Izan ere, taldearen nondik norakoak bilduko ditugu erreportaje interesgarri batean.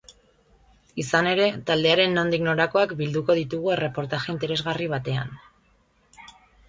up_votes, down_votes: 2, 0